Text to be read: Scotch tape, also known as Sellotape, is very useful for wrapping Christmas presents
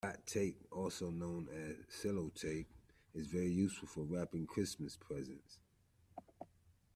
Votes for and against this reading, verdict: 2, 1, accepted